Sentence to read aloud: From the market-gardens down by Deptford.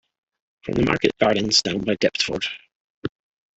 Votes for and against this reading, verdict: 0, 2, rejected